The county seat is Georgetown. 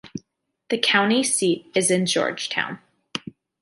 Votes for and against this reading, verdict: 2, 1, accepted